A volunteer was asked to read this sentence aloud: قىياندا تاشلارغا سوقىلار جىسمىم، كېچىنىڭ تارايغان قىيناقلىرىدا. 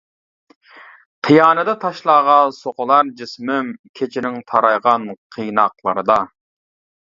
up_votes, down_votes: 1, 2